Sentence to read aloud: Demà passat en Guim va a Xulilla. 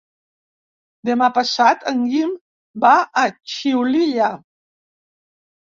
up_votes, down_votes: 0, 3